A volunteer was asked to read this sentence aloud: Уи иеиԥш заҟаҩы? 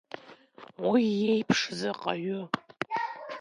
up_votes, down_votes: 1, 2